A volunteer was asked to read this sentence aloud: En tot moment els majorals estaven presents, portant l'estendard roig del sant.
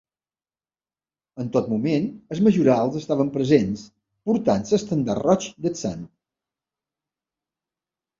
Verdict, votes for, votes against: rejected, 1, 3